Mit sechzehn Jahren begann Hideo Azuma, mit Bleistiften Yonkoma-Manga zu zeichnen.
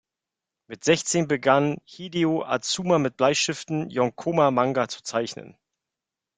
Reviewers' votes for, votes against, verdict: 0, 2, rejected